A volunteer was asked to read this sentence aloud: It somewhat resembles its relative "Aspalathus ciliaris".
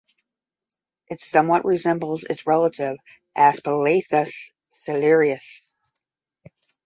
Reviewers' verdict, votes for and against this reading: accepted, 5, 0